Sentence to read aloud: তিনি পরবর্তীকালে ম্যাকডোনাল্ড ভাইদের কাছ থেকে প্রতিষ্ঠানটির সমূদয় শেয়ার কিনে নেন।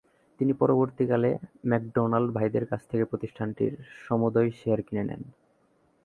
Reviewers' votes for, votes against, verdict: 11, 1, accepted